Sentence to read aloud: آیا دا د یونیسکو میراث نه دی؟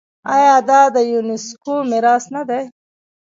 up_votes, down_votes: 1, 2